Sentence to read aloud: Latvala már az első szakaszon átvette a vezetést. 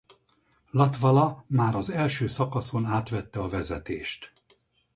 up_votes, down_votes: 4, 0